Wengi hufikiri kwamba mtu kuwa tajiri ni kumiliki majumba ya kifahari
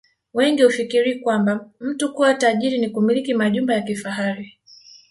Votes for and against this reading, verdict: 1, 2, rejected